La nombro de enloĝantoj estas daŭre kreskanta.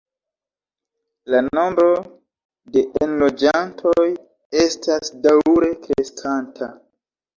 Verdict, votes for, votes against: accepted, 2, 0